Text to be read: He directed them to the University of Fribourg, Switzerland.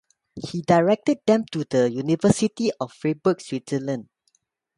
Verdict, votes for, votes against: rejected, 0, 2